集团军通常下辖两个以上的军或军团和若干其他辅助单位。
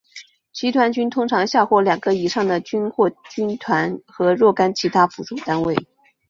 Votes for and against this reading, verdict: 2, 1, accepted